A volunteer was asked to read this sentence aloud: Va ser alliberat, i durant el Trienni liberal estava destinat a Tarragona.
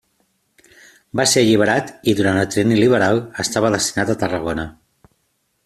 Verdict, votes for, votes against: accepted, 2, 1